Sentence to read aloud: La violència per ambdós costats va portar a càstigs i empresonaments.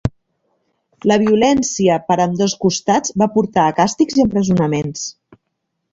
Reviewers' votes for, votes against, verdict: 2, 1, accepted